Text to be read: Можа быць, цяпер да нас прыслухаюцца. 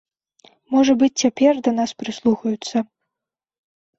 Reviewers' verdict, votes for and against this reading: accepted, 3, 0